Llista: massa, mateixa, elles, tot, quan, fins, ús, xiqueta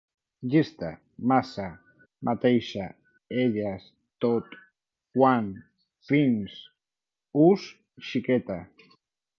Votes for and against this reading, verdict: 2, 0, accepted